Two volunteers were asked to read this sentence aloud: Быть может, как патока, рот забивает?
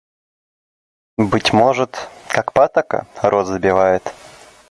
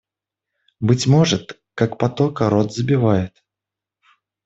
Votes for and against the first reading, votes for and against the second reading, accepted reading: 2, 0, 0, 2, first